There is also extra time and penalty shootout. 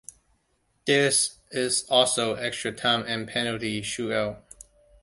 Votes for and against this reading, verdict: 2, 1, accepted